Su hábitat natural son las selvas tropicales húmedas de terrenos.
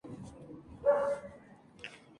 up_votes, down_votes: 0, 2